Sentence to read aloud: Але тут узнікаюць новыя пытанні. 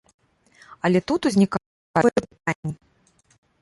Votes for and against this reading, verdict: 0, 2, rejected